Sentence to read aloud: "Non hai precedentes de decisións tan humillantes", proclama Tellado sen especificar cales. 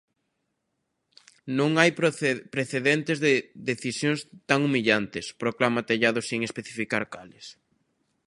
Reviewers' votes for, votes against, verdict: 0, 3, rejected